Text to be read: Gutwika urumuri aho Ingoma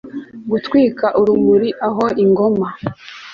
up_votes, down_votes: 2, 0